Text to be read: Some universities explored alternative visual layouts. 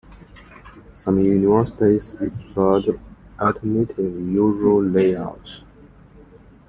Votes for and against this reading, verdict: 1, 2, rejected